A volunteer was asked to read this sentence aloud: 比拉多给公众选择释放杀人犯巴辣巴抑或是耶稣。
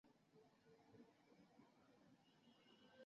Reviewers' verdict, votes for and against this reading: rejected, 0, 2